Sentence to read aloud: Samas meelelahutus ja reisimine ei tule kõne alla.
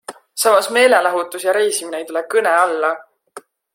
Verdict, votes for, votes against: accepted, 2, 0